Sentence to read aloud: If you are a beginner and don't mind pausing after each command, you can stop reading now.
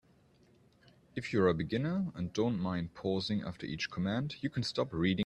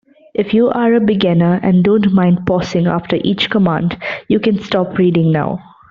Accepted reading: second